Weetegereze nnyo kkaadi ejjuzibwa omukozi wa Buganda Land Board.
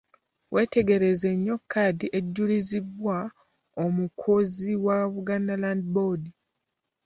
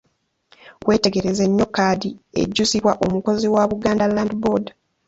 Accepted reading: second